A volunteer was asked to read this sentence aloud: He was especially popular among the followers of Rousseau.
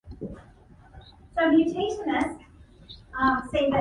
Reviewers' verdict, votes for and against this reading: rejected, 0, 2